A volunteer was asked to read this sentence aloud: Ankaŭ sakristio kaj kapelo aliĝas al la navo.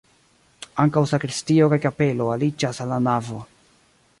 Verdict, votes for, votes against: accepted, 2, 1